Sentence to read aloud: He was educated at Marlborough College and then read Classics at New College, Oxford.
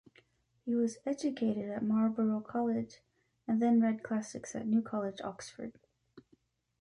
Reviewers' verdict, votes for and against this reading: rejected, 1, 2